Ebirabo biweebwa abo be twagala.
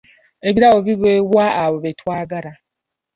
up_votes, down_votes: 3, 1